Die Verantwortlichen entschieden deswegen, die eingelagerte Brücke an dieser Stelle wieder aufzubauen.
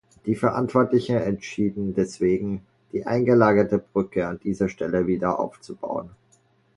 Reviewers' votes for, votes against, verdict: 1, 2, rejected